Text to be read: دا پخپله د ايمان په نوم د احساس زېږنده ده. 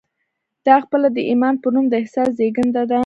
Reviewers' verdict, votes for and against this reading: rejected, 0, 2